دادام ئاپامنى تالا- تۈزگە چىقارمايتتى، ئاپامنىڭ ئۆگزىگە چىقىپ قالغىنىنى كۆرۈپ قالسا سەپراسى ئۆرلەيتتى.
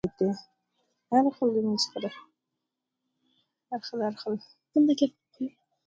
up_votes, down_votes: 0, 2